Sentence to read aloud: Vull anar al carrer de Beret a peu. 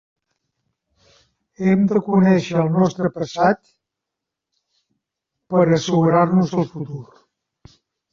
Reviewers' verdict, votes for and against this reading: rejected, 0, 3